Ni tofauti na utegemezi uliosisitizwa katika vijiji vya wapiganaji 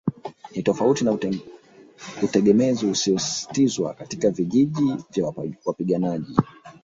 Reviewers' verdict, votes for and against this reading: rejected, 0, 2